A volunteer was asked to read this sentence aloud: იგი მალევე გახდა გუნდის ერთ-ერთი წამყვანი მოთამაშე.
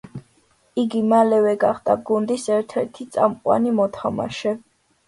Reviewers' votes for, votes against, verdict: 2, 0, accepted